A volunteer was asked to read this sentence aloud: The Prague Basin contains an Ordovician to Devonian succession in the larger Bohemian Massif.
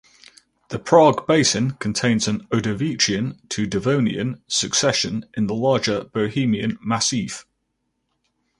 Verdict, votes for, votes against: accepted, 6, 0